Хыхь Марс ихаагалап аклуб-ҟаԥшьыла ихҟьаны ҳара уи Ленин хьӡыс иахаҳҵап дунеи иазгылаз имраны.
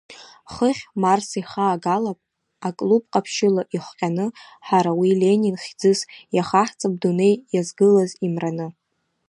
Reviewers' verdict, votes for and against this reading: accepted, 2, 0